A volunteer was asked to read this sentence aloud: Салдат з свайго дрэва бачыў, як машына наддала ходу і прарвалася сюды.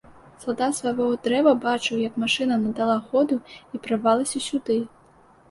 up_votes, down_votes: 2, 0